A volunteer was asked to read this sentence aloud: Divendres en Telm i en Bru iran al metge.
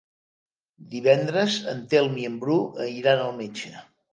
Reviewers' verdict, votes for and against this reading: accepted, 3, 1